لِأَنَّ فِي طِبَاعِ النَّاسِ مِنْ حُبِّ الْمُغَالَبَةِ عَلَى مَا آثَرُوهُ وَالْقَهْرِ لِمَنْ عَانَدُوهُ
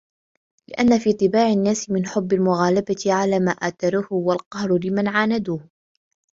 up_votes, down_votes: 2, 0